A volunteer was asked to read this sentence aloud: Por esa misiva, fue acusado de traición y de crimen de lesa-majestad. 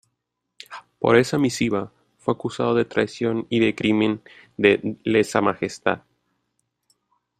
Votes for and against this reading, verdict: 1, 2, rejected